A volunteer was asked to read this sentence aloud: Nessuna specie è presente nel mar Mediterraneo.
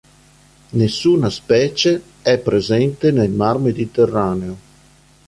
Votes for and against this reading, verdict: 2, 0, accepted